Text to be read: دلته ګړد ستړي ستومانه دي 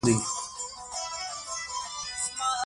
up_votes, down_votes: 1, 2